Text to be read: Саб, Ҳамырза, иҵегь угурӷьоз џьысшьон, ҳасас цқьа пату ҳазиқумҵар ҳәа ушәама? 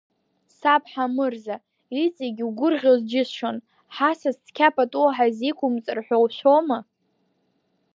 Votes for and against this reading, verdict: 2, 0, accepted